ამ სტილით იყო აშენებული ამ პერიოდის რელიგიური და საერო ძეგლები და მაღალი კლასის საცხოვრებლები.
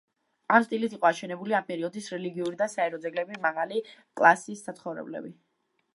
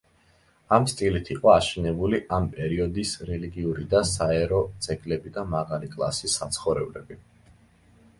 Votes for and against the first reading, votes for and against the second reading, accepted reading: 0, 2, 2, 0, second